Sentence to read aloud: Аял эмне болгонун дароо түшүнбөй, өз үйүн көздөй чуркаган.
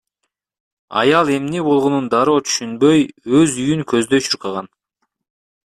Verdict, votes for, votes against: rejected, 1, 2